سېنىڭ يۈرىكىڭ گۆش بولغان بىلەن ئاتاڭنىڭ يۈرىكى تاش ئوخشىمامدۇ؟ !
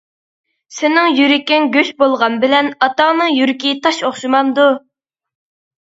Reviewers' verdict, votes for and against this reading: accepted, 2, 0